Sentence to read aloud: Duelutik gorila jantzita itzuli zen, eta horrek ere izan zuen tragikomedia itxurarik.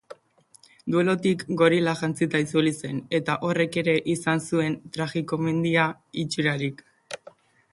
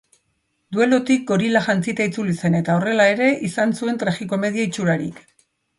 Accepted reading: first